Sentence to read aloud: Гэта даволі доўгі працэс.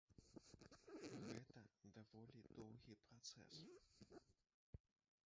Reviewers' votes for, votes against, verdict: 1, 2, rejected